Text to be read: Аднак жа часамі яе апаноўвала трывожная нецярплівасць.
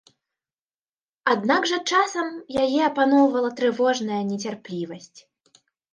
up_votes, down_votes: 2, 1